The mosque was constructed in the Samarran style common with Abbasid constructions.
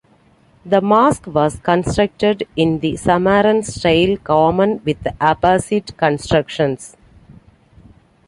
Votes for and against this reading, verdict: 2, 0, accepted